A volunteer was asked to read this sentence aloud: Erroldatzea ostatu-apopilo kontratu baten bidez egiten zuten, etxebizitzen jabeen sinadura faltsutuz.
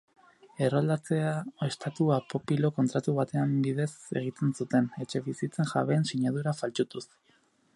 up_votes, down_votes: 0, 4